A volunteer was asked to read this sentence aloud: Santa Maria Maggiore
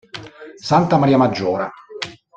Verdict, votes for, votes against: rejected, 1, 2